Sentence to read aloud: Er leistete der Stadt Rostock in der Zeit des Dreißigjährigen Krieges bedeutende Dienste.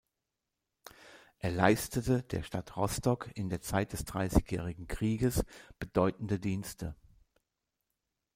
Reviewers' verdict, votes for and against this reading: accepted, 2, 0